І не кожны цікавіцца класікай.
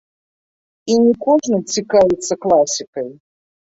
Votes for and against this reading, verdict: 0, 2, rejected